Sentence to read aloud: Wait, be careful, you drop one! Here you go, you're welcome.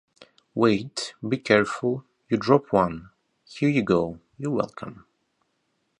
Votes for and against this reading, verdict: 0, 2, rejected